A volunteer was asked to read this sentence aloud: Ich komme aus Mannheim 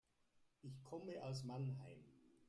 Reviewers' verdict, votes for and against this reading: rejected, 1, 2